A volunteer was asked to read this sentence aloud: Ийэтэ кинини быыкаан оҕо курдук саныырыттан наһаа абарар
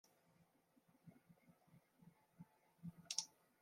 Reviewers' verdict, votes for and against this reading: rejected, 0, 2